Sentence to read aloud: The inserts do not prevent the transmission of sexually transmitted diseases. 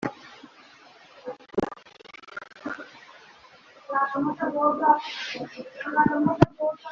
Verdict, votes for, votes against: rejected, 0, 2